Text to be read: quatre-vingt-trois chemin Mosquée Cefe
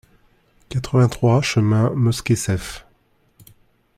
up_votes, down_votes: 2, 0